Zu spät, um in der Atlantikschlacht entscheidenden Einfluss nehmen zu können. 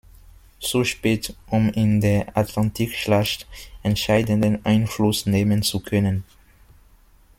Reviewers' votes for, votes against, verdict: 0, 2, rejected